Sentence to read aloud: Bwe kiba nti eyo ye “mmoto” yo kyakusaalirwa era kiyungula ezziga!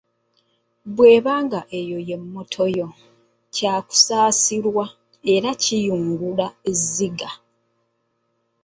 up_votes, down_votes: 1, 2